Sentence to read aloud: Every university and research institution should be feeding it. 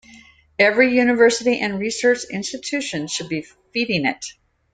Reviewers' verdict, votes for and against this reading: accepted, 2, 0